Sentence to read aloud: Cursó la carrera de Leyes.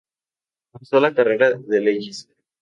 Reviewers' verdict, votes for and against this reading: accepted, 2, 0